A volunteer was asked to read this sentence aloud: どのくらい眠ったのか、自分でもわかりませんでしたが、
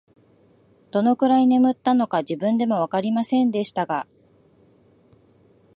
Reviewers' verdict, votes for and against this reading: accepted, 2, 0